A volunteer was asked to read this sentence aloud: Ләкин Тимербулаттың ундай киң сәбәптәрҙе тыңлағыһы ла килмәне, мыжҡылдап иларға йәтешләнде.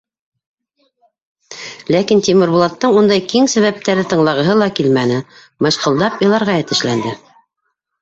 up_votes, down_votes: 2, 0